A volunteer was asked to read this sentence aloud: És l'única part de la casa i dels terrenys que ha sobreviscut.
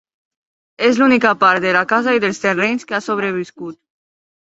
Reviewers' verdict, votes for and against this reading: rejected, 0, 2